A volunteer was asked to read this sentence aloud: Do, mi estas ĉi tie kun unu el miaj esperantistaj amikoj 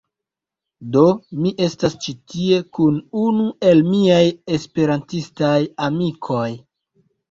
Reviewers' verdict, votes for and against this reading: accepted, 2, 0